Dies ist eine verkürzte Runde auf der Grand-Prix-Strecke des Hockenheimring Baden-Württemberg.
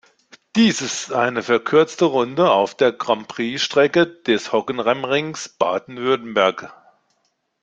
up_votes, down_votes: 1, 2